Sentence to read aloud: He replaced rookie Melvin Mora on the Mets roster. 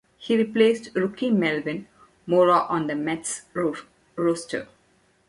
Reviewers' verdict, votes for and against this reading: rejected, 0, 2